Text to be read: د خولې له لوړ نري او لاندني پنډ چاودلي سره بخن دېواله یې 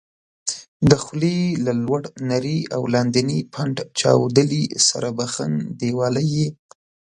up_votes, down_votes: 1, 2